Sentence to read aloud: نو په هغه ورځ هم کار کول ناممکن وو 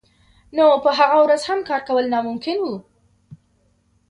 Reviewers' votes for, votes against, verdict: 2, 0, accepted